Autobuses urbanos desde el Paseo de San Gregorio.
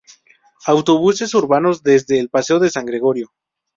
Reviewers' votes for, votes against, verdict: 2, 2, rejected